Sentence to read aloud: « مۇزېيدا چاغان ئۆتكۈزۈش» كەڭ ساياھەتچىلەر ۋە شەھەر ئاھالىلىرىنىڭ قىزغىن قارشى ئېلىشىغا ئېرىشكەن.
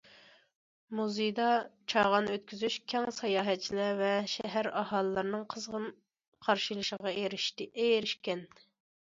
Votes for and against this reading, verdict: 1, 2, rejected